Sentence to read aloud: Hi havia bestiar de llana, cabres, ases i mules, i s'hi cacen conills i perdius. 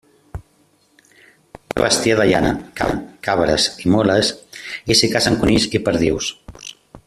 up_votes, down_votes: 0, 2